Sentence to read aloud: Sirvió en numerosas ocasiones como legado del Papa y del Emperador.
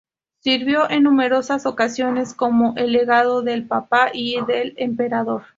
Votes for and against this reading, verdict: 0, 2, rejected